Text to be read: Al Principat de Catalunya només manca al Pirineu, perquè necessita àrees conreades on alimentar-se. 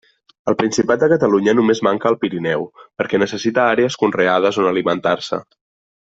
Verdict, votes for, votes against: accepted, 2, 0